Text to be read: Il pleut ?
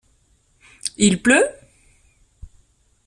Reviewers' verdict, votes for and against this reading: accepted, 2, 0